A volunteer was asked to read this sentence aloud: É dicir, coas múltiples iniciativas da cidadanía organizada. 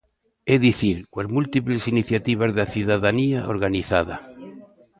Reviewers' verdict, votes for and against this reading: rejected, 0, 2